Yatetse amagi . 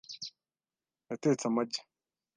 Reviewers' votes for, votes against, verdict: 2, 0, accepted